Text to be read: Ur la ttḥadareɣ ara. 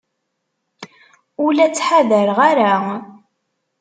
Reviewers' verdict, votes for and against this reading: accepted, 2, 0